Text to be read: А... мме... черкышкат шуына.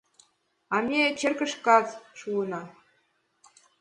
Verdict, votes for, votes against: accepted, 2, 0